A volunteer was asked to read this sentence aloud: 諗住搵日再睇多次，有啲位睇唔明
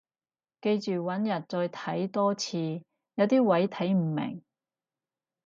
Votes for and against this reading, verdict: 0, 4, rejected